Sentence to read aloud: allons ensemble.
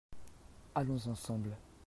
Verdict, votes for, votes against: accepted, 2, 0